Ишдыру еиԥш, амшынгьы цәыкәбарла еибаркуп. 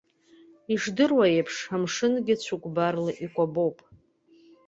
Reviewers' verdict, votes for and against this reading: accepted, 2, 1